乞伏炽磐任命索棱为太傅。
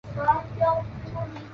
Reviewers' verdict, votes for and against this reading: rejected, 1, 2